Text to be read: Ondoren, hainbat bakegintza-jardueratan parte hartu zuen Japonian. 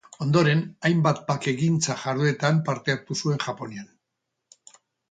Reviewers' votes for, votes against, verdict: 0, 2, rejected